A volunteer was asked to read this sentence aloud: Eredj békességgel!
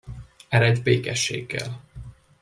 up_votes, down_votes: 2, 0